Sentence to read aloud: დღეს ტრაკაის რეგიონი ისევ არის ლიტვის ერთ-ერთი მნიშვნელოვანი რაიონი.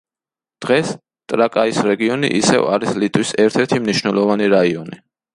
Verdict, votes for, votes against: accepted, 2, 0